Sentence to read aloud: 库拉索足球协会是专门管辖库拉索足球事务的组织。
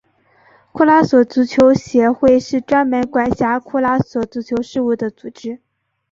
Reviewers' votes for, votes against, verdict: 3, 0, accepted